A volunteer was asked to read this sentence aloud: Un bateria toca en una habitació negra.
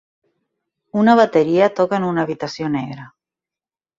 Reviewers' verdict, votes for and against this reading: rejected, 1, 3